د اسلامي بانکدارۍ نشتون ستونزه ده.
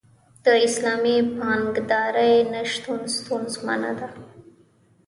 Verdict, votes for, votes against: rejected, 1, 2